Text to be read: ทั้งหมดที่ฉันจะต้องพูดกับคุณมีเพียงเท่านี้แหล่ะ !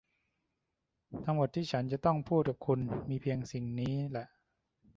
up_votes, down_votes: 0, 2